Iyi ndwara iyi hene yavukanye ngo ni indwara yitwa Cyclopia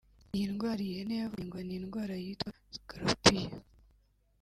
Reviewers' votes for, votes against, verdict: 2, 3, rejected